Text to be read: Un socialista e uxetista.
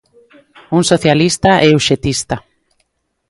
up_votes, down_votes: 2, 0